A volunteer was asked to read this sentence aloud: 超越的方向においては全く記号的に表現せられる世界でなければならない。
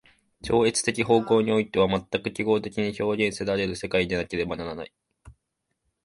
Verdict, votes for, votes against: accepted, 2, 0